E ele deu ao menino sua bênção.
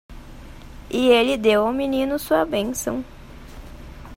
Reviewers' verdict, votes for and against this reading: accepted, 2, 0